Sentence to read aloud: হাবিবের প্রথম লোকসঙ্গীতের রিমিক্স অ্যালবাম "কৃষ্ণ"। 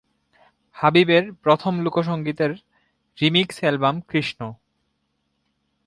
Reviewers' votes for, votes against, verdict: 2, 1, accepted